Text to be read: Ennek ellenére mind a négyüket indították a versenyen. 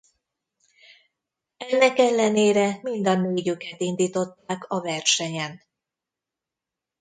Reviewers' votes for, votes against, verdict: 0, 2, rejected